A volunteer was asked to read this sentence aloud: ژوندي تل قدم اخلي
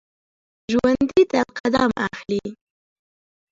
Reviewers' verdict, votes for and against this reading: accepted, 2, 1